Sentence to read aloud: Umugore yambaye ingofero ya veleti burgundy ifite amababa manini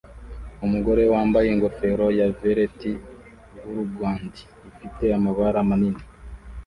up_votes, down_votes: 0, 2